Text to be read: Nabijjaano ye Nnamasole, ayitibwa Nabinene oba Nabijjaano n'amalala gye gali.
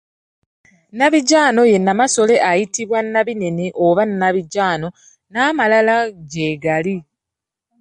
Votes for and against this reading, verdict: 2, 0, accepted